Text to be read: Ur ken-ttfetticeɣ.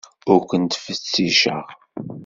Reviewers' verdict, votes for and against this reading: rejected, 1, 2